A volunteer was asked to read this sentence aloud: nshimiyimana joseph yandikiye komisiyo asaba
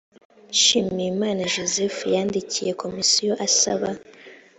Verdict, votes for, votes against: accepted, 2, 0